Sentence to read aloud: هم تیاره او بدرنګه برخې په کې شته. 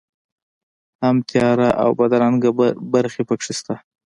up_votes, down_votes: 2, 1